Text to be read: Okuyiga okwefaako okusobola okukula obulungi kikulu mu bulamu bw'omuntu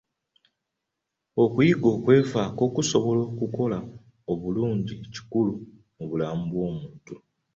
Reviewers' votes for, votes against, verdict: 0, 2, rejected